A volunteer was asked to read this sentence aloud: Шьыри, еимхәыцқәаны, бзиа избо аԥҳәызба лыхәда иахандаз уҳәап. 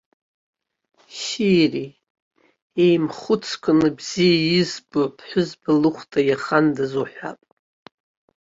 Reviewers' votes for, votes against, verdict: 2, 0, accepted